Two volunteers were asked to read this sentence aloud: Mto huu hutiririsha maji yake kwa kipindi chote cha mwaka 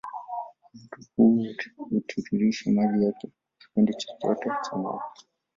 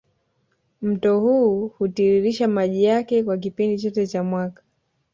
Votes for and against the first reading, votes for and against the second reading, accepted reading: 0, 2, 2, 0, second